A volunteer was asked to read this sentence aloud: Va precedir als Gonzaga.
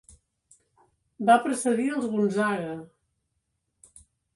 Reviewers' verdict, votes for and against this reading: rejected, 1, 2